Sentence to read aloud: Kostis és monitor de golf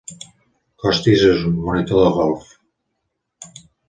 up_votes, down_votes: 0, 2